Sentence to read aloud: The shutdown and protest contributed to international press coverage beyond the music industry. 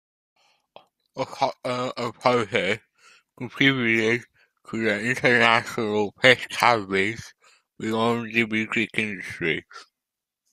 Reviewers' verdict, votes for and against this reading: rejected, 0, 2